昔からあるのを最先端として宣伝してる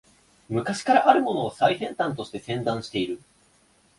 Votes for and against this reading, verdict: 1, 3, rejected